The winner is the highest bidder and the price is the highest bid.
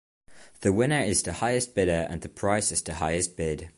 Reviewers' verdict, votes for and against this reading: accepted, 2, 0